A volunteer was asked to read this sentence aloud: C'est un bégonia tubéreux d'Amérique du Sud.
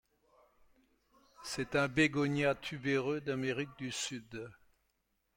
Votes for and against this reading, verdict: 2, 0, accepted